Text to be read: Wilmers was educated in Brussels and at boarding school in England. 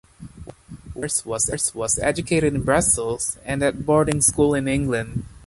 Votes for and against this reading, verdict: 1, 2, rejected